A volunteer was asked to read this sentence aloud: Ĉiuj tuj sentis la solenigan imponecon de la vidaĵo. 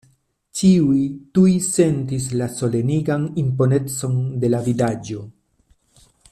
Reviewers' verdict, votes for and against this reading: accepted, 2, 0